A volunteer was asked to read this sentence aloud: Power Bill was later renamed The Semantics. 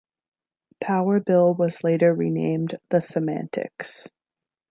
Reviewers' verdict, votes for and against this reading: accepted, 2, 0